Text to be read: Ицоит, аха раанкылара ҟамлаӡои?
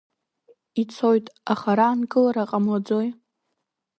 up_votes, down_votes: 2, 1